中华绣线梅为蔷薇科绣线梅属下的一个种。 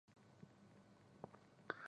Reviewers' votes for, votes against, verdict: 2, 1, accepted